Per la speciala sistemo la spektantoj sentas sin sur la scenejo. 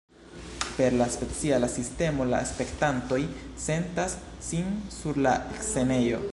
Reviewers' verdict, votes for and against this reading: accepted, 3, 1